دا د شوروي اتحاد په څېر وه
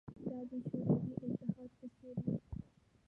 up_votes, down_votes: 0, 2